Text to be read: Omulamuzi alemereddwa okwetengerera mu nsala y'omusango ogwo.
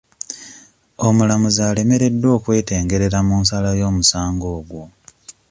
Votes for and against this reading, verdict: 2, 1, accepted